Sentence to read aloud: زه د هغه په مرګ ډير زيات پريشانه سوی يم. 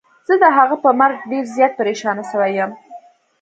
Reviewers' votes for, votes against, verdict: 2, 0, accepted